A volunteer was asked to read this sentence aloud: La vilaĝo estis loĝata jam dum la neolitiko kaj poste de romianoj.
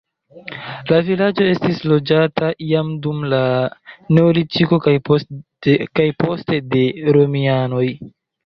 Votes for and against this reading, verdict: 1, 2, rejected